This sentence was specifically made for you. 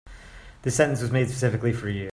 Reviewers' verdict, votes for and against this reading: rejected, 1, 2